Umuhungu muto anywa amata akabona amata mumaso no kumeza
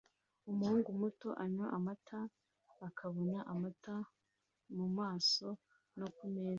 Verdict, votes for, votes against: accepted, 2, 0